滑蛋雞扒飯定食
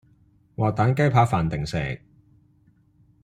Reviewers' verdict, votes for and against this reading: accepted, 2, 0